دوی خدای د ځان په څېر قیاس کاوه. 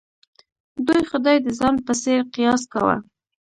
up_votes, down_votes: 0, 2